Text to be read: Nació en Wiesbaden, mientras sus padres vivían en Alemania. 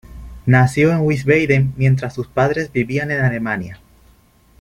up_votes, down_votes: 0, 2